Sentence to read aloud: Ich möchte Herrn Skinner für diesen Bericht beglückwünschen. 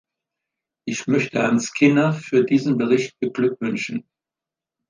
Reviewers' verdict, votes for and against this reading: accepted, 2, 0